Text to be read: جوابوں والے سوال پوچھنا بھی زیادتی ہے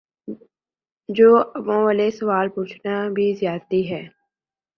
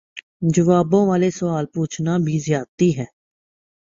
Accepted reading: second